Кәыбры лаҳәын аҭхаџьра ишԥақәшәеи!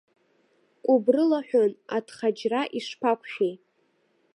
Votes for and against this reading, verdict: 0, 2, rejected